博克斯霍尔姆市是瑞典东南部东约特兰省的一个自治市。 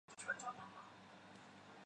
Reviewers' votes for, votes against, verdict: 0, 2, rejected